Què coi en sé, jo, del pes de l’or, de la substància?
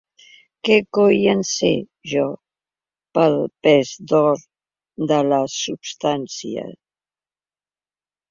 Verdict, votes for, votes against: rejected, 0, 3